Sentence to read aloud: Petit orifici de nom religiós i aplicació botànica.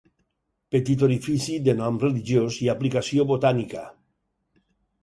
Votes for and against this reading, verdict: 4, 0, accepted